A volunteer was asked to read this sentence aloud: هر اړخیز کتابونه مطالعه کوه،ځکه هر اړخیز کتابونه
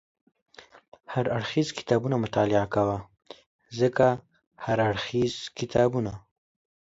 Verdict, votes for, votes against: accepted, 2, 0